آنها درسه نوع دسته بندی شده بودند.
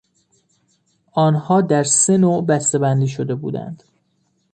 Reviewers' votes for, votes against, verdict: 2, 1, accepted